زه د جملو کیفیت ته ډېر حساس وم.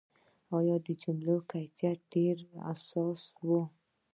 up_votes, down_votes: 1, 2